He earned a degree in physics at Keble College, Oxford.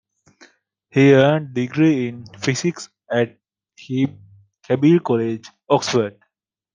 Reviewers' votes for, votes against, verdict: 0, 2, rejected